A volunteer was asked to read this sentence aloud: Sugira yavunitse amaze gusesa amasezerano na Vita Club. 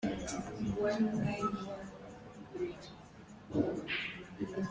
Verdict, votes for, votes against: rejected, 0, 2